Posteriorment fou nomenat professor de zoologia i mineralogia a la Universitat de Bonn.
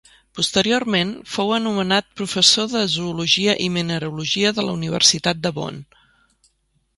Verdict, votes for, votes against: rejected, 0, 3